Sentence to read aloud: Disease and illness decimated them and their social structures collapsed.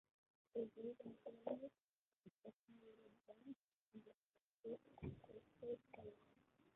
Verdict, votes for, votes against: rejected, 0, 2